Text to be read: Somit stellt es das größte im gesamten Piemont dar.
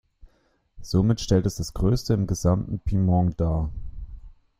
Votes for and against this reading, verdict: 0, 2, rejected